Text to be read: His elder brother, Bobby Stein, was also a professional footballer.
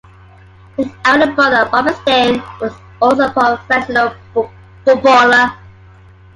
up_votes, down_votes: 1, 3